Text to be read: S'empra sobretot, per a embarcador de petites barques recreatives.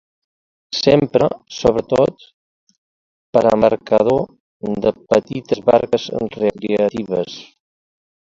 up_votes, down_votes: 1, 2